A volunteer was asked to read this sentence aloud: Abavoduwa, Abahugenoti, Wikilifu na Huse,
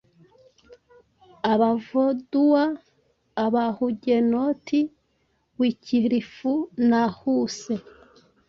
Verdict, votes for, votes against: rejected, 1, 2